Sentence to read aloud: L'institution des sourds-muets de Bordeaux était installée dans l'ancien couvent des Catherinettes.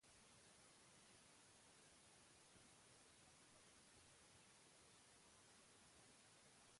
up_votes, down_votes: 0, 2